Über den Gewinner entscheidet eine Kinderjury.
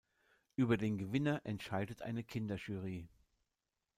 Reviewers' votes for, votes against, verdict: 2, 0, accepted